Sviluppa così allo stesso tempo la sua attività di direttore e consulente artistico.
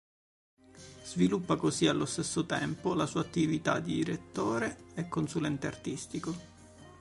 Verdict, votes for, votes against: rejected, 1, 2